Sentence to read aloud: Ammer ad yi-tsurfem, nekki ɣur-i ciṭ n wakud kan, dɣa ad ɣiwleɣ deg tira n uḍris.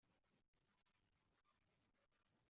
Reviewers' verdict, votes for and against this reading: rejected, 0, 2